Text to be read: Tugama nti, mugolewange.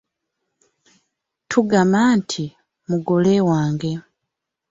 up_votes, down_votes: 0, 2